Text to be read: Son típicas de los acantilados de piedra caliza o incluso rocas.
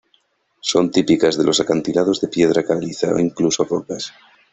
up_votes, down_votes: 2, 0